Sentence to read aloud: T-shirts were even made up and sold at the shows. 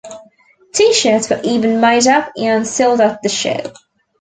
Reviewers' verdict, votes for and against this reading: accepted, 2, 0